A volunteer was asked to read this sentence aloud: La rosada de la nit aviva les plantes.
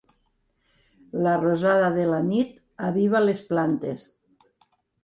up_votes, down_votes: 3, 0